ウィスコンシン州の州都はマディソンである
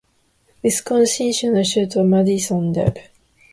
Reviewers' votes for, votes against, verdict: 2, 0, accepted